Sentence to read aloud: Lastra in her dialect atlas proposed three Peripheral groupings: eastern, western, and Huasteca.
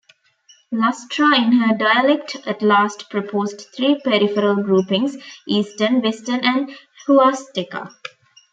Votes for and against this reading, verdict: 0, 2, rejected